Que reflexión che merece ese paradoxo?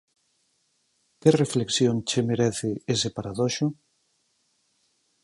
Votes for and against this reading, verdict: 2, 4, rejected